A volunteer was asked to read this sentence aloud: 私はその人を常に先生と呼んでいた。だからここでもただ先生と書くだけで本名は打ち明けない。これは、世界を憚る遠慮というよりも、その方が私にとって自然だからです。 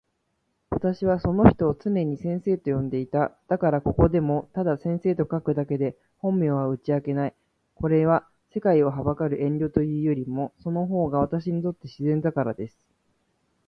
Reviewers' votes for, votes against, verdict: 2, 0, accepted